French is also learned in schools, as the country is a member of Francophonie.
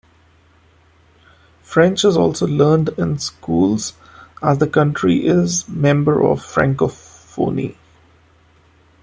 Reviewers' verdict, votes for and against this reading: rejected, 1, 2